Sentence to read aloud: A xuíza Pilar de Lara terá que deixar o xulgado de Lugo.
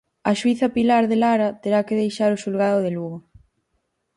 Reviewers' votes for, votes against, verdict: 4, 0, accepted